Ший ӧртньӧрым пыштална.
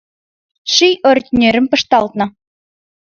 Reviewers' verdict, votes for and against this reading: accepted, 2, 0